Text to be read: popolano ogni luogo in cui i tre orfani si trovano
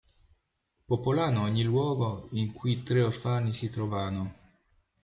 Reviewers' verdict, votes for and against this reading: rejected, 0, 2